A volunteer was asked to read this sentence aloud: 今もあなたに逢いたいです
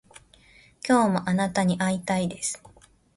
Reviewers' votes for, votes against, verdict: 0, 2, rejected